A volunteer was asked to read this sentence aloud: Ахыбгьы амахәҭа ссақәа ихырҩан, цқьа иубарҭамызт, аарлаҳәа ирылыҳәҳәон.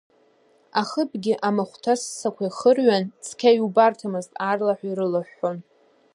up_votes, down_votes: 1, 2